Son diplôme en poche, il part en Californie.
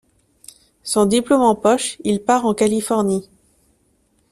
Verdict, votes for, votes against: accepted, 2, 0